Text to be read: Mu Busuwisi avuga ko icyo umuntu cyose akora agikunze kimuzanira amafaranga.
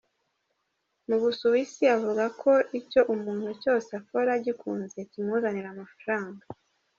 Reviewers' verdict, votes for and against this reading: accepted, 2, 1